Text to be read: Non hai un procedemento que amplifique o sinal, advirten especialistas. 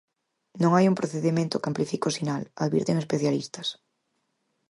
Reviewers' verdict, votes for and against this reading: accepted, 4, 0